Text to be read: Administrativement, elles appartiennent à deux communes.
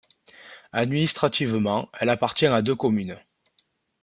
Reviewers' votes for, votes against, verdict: 0, 2, rejected